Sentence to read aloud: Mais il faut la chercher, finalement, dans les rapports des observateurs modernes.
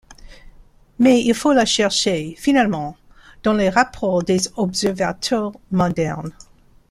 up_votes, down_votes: 2, 0